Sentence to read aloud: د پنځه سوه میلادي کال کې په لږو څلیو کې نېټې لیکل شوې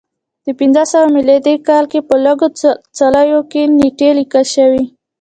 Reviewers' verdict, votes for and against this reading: rejected, 1, 2